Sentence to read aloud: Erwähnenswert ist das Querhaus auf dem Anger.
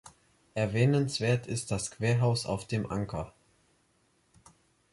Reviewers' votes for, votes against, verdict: 0, 3, rejected